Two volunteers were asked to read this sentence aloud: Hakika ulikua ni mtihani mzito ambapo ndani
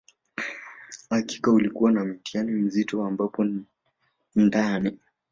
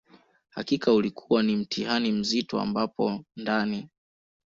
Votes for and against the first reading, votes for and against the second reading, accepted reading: 1, 2, 2, 0, second